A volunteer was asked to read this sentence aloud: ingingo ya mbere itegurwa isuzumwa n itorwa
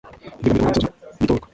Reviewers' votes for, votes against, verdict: 1, 2, rejected